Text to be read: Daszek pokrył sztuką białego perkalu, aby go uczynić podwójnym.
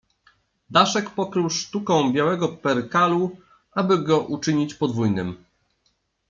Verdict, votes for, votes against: accepted, 2, 0